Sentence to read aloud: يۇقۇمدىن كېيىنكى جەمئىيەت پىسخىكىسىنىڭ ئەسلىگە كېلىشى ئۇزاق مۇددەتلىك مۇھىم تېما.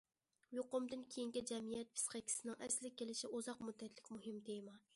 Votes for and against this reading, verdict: 2, 0, accepted